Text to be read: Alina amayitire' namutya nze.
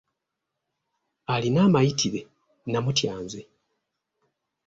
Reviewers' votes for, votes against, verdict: 2, 0, accepted